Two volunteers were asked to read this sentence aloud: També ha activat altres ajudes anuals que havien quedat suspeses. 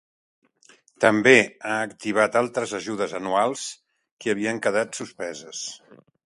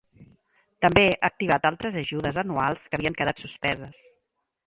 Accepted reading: first